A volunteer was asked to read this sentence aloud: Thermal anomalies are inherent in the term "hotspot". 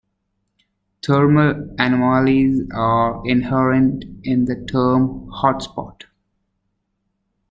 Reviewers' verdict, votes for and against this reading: rejected, 0, 2